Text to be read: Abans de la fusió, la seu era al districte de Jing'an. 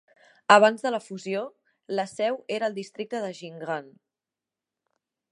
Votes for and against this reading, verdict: 1, 2, rejected